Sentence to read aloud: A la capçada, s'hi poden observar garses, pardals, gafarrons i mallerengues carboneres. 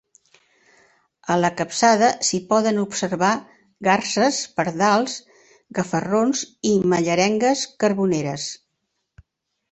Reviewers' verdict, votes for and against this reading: accepted, 2, 0